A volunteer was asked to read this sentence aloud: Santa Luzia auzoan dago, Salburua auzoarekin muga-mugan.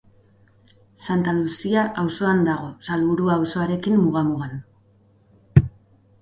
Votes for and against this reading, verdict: 4, 0, accepted